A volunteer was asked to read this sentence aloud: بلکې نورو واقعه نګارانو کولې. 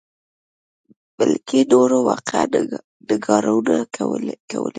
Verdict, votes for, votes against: rejected, 1, 2